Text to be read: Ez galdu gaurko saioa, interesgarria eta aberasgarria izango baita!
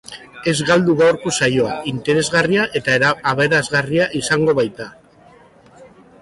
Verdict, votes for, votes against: rejected, 1, 2